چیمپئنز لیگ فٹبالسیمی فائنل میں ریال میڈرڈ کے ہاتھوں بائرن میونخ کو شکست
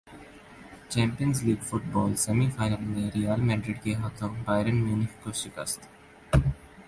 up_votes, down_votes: 2, 0